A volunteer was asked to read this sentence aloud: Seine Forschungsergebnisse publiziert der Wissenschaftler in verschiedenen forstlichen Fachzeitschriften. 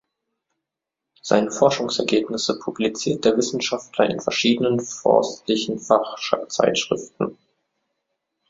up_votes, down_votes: 0, 2